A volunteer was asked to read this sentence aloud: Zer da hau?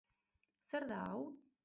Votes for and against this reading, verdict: 2, 2, rejected